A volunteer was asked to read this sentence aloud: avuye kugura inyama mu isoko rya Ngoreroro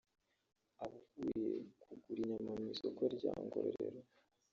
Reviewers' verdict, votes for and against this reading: rejected, 1, 2